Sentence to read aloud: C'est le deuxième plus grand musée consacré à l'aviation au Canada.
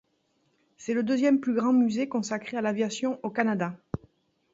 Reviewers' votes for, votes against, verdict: 2, 0, accepted